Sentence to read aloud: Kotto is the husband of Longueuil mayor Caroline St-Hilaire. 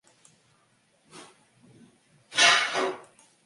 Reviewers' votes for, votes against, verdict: 0, 2, rejected